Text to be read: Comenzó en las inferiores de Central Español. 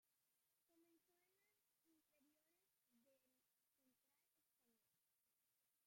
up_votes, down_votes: 0, 2